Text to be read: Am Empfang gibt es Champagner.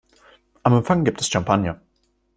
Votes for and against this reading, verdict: 0, 2, rejected